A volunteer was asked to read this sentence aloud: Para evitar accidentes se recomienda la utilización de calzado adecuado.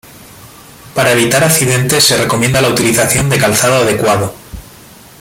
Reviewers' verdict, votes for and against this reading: accepted, 2, 1